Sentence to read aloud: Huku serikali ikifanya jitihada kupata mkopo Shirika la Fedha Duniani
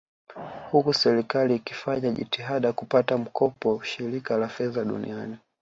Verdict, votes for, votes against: rejected, 1, 2